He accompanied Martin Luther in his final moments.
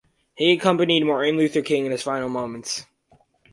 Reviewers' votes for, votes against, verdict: 0, 4, rejected